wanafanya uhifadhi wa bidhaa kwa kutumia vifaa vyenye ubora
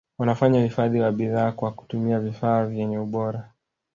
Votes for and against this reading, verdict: 0, 2, rejected